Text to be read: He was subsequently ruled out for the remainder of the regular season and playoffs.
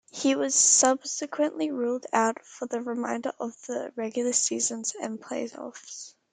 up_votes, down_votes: 2, 1